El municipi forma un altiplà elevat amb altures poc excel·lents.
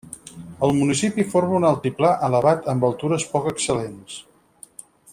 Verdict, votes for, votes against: accepted, 4, 0